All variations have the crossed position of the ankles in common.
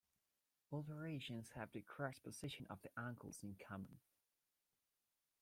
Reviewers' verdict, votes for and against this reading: rejected, 0, 2